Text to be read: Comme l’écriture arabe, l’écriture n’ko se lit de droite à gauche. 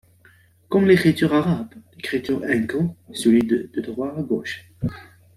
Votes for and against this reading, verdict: 0, 2, rejected